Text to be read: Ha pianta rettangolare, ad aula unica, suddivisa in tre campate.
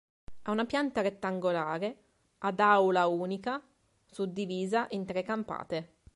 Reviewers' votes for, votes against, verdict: 1, 4, rejected